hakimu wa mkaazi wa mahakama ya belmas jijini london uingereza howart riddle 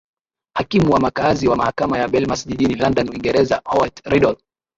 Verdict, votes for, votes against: accepted, 7, 5